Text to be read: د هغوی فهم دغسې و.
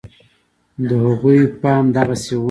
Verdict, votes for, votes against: accepted, 2, 0